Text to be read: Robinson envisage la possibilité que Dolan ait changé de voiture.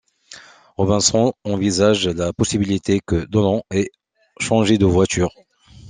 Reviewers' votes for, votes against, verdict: 3, 0, accepted